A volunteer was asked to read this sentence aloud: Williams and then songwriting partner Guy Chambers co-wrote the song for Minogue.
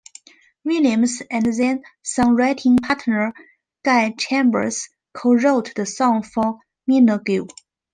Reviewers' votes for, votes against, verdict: 0, 2, rejected